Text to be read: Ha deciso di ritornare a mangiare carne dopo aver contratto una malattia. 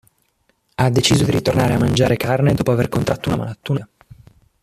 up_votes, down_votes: 0, 3